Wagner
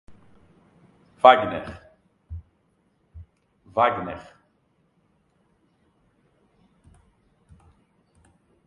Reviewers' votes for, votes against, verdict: 0, 2, rejected